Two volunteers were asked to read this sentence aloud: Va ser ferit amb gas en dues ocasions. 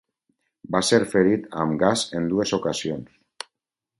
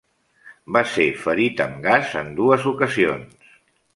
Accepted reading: first